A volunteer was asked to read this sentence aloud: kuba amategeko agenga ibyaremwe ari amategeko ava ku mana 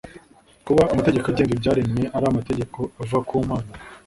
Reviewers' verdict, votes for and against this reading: rejected, 1, 2